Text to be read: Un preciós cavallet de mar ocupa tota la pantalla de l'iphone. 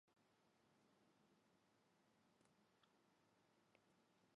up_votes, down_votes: 0, 2